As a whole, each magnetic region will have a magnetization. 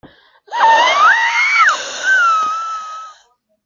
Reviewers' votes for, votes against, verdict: 0, 2, rejected